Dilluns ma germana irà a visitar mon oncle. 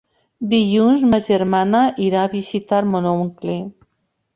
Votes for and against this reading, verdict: 3, 0, accepted